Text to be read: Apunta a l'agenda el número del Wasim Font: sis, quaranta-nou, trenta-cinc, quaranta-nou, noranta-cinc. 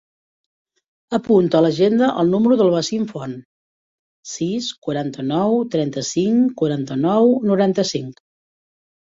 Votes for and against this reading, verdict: 3, 0, accepted